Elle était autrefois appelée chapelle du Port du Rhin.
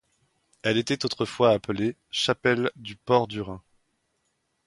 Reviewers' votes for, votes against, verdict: 2, 0, accepted